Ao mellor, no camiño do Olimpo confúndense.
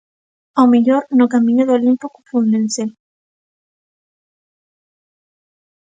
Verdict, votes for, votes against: accepted, 2, 0